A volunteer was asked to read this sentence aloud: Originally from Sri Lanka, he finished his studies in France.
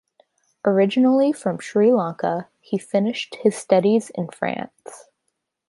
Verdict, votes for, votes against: accepted, 2, 0